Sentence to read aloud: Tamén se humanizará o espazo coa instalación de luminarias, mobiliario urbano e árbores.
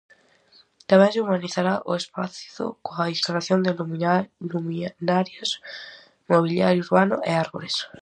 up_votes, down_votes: 0, 4